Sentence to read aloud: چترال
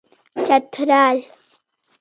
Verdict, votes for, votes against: accepted, 2, 1